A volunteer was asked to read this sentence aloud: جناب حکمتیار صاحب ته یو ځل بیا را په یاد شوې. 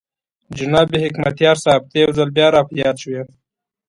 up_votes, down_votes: 2, 1